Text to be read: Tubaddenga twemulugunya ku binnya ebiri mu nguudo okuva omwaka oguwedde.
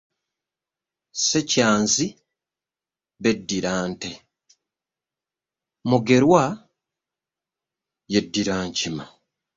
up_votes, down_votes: 0, 2